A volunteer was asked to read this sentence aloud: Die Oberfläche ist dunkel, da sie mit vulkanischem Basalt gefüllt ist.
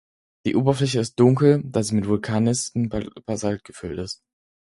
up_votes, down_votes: 0, 4